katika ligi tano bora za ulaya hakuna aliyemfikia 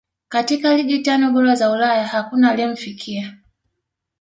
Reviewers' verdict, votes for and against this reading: accepted, 2, 0